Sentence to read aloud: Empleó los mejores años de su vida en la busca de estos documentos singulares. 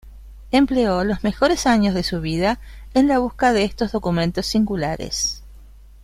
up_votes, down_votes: 2, 0